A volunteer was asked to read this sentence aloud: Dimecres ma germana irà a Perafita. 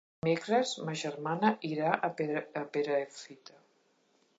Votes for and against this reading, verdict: 0, 2, rejected